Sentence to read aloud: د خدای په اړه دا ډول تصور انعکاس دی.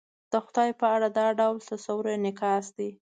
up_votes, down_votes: 2, 0